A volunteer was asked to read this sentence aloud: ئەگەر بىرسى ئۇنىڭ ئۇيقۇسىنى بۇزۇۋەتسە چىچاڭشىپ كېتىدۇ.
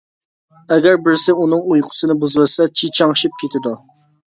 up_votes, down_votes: 2, 0